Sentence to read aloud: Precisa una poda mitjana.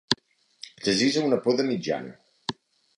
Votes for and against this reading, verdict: 2, 1, accepted